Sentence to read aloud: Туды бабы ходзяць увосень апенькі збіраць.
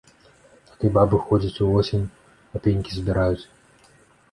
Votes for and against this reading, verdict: 1, 2, rejected